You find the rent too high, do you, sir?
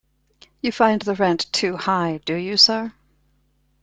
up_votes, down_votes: 2, 0